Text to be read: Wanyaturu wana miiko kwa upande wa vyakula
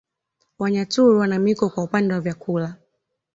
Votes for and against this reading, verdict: 2, 0, accepted